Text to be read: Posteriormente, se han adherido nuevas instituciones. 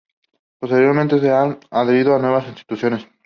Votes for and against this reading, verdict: 2, 0, accepted